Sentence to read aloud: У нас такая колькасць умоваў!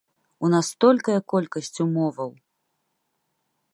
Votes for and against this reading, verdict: 0, 2, rejected